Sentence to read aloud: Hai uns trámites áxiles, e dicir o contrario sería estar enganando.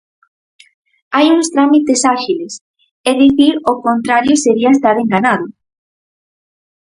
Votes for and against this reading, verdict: 2, 4, rejected